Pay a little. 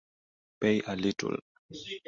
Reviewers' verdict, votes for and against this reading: accepted, 2, 0